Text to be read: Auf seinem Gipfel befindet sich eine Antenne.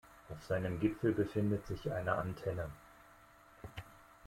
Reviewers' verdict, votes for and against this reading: accepted, 2, 0